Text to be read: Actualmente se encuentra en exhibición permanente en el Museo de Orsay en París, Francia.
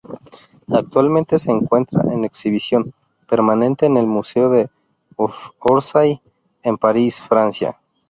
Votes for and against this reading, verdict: 0, 2, rejected